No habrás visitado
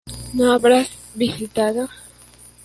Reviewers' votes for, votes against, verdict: 2, 1, accepted